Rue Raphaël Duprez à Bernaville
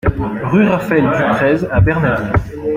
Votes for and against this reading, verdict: 1, 2, rejected